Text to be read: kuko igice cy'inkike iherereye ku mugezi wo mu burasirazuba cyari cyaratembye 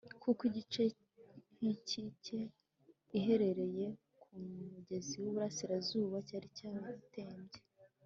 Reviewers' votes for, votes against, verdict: 1, 2, rejected